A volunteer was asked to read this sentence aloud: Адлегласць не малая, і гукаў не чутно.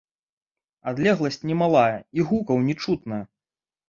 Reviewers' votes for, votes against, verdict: 1, 2, rejected